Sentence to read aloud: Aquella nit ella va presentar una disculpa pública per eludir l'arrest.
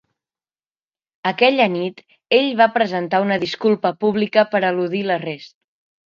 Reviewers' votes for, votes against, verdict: 0, 4, rejected